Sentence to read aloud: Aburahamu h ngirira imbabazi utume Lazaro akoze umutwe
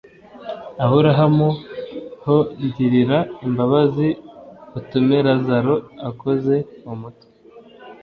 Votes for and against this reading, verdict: 2, 1, accepted